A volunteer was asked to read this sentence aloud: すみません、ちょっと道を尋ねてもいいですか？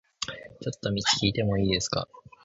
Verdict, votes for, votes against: rejected, 0, 2